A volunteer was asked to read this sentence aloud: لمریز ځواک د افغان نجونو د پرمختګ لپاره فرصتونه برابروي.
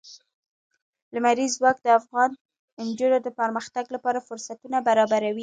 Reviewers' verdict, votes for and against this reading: accepted, 2, 0